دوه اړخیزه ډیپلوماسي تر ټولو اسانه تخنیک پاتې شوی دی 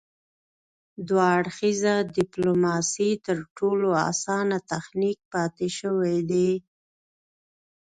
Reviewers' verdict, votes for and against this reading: accepted, 2, 0